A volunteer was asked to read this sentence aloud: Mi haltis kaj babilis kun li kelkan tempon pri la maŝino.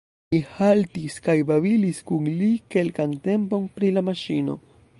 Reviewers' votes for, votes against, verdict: 0, 2, rejected